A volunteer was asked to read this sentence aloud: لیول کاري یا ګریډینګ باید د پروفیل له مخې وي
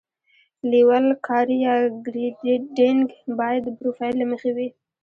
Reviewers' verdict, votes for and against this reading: rejected, 1, 2